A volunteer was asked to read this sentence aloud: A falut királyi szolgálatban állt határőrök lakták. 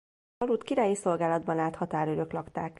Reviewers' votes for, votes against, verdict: 0, 3, rejected